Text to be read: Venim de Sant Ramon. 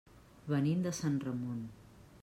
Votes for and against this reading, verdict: 3, 0, accepted